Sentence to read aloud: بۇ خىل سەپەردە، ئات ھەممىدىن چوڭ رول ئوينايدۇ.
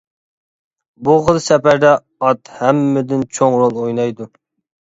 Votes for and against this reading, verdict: 2, 0, accepted